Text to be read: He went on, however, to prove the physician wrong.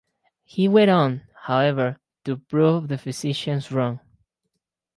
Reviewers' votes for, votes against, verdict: 0, 4, rejected